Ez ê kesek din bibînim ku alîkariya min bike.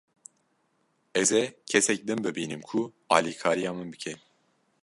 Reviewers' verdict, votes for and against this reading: accepted, 2, 0